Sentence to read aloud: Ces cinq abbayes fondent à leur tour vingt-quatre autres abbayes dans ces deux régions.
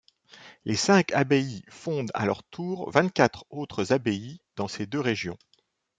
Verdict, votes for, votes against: rejected, 1, 2